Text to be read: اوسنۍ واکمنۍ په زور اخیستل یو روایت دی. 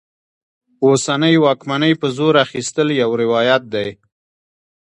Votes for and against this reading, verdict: 1, 2, rejected